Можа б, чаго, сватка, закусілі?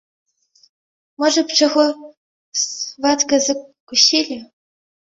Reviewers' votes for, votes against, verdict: 1, 2, rejected